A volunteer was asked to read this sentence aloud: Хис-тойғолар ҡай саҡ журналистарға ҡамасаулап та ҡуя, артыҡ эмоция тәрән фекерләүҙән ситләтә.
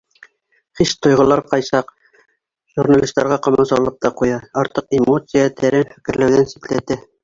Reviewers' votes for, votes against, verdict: 2, 3, rejected